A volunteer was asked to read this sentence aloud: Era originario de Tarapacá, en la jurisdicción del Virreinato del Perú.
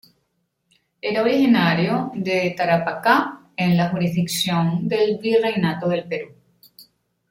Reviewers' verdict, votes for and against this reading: accepted, 2, 0